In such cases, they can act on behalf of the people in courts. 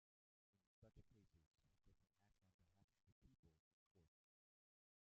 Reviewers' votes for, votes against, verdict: 0, 2, rejected